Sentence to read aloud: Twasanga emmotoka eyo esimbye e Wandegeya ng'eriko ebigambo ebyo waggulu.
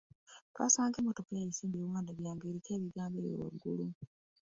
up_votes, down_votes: 2, 0